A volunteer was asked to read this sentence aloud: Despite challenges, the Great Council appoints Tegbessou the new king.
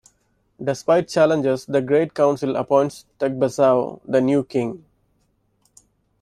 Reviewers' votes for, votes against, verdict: 2, 0, accepted